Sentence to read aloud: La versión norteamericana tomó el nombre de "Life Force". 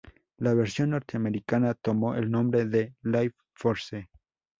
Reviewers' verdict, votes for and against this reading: rejected, 0, 2